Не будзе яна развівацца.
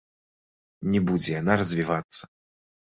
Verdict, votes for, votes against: accepted, 2, 0